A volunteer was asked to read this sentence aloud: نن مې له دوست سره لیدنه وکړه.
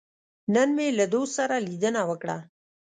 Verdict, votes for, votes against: accepted, 2, 0